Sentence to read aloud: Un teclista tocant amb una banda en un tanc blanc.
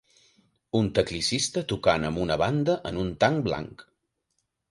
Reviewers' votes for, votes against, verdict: 0, 2, rejected